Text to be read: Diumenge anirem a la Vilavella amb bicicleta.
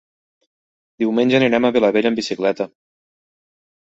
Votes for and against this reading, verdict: 0, 2, rejected